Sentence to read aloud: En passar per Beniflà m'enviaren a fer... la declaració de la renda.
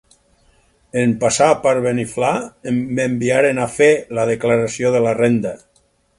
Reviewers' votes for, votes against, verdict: 0, 4, rejected